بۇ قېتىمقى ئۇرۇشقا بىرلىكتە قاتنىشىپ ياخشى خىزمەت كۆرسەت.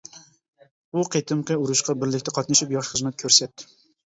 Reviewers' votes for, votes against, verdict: 2, 0, accepted